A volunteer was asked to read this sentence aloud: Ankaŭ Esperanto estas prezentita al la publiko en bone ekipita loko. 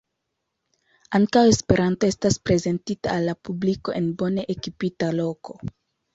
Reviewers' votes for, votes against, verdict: 2, 0, accepted